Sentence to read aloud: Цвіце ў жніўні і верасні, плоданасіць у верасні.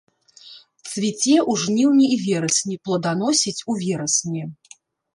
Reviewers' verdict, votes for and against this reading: rejected, 1, 2